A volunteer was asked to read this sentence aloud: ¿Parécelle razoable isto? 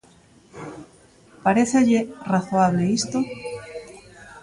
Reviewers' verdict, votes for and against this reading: rejected, 0, 2